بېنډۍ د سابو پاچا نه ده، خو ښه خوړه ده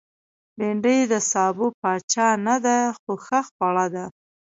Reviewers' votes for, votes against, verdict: 2, 0, accepted